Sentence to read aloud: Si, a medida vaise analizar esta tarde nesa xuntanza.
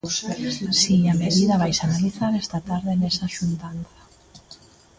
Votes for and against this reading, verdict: 1, 2, rejected